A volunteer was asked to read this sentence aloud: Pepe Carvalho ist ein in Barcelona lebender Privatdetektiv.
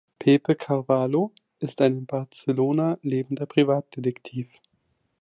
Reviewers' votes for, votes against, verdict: 0, 2, rejected